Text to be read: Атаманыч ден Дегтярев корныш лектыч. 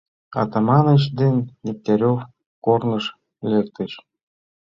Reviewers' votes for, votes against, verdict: 2, 1, accepted